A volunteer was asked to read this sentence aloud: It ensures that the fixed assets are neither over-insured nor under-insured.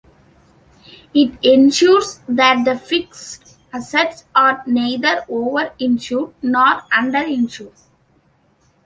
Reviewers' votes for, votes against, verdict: 2, 0, accepted